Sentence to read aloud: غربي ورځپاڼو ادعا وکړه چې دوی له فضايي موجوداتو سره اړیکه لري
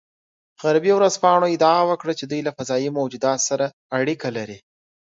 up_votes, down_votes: 2, 1